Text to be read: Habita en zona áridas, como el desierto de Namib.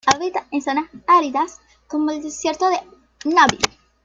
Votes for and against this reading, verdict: 2, 1, accepted